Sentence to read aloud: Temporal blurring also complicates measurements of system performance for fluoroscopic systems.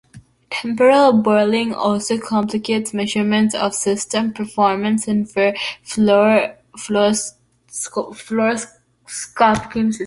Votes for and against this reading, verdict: 0, 2, rejected